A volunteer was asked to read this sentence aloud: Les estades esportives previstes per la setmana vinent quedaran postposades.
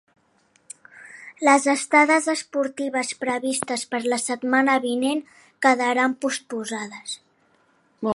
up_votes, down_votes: 3, 0